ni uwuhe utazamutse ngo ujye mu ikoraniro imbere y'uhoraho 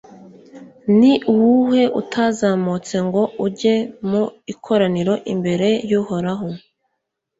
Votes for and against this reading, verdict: 2, 0, accepted